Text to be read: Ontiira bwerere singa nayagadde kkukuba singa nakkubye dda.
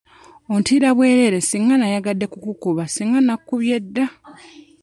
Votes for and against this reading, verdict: 2, 0, accepted